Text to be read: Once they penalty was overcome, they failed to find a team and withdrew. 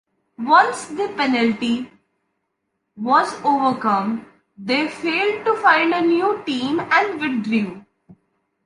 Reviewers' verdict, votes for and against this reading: rejected, 1, 2